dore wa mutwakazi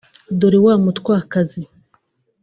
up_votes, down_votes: 3, 0